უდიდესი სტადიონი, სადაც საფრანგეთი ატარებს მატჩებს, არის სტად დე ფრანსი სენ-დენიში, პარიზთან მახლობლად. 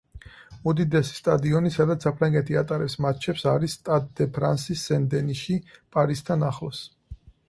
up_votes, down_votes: 0, 4